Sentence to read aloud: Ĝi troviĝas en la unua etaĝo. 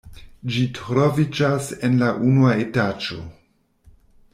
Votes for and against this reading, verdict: 0, 2, rejected